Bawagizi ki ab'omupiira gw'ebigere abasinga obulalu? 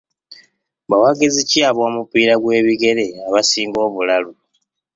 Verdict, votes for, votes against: accepted, 2, 0